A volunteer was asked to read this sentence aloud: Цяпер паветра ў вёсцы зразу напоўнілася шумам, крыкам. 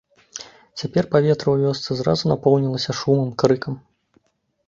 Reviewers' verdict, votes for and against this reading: accepted, 2, 0